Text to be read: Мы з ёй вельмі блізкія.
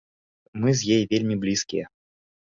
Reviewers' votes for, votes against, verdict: 1, 2, rejected